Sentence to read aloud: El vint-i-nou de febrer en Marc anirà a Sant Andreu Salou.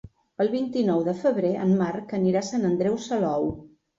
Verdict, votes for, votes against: accepted, 3, 0